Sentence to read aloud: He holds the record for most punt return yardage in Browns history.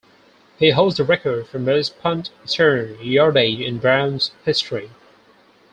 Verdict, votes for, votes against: accepted, 4, 2